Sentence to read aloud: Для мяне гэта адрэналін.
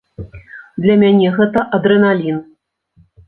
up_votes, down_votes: 2, 0